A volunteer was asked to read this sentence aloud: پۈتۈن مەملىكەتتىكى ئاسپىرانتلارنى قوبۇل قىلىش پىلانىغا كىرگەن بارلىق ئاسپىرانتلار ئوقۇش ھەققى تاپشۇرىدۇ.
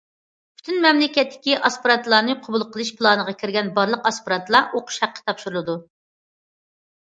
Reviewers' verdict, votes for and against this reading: accepted, 2, 0